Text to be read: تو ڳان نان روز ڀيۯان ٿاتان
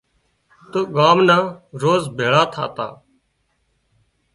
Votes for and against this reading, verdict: 2, 0, accepted